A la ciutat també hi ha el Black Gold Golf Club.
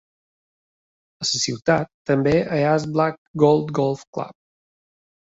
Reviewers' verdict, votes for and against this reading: rejected, 1, 2